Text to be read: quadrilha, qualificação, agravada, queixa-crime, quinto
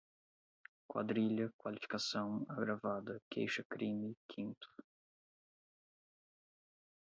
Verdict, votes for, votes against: rejected, 0, 4